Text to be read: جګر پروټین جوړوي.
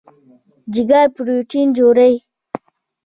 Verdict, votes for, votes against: accepted, 2, 0